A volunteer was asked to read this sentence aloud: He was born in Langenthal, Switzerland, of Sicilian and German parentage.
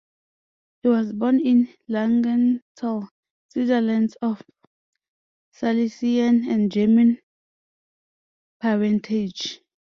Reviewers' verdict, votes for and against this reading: rejected, 1, 2